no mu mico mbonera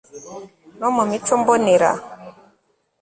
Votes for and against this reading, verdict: 2, 0, accepted